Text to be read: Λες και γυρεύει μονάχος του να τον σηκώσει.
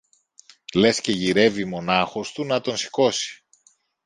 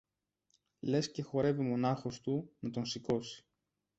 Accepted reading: first